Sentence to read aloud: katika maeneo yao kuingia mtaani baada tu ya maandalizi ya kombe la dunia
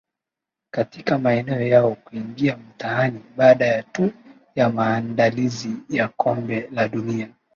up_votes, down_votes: 0, 2